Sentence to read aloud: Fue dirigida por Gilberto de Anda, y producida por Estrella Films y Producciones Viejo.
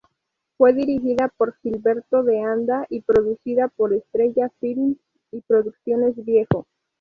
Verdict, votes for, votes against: rejected, 0, 2